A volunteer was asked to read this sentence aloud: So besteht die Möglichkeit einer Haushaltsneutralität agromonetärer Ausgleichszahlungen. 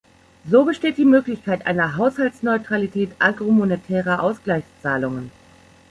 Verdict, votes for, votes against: accepted, 2, 0